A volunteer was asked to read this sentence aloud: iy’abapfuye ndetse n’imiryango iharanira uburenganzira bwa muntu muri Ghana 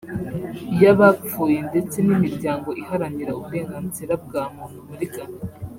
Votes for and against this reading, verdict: 2, 0, accepted